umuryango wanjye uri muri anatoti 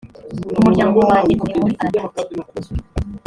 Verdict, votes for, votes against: rejected, 1, 3